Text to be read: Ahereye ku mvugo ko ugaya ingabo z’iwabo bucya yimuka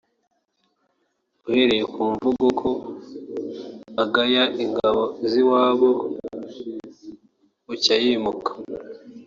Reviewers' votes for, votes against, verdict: 1, 2, rejected